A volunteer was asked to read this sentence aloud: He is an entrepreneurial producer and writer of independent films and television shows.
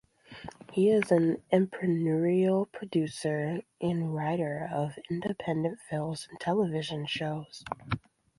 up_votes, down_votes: 2, 0